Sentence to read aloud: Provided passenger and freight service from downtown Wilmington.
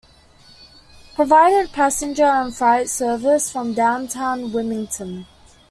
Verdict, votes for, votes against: accepted, 2, 0